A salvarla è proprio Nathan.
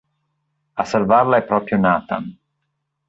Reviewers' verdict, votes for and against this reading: accepted, 3, 1